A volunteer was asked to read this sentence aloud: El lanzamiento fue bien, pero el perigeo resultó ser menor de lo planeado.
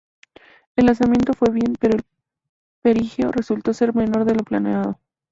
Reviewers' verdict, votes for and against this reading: rejected, 2, 2